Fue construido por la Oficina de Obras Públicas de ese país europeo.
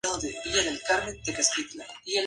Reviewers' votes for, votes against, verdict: 0, 2, rejected